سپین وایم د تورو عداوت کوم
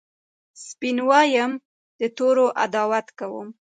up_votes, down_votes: 0, 2